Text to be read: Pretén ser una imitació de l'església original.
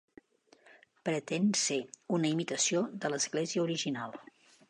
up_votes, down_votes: 3, 0